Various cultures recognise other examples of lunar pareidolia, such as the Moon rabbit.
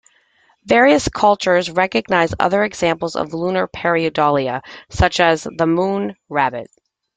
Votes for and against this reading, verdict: 2, 0, accepted